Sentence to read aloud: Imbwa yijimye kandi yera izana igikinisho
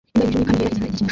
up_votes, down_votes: 0, 2